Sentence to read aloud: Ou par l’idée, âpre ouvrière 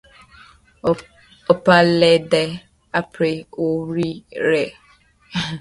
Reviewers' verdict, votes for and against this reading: rejected, 1, 2